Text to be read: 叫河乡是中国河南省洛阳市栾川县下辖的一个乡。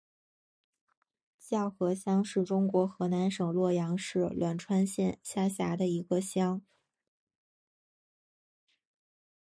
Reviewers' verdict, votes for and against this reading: rejected, 2, 3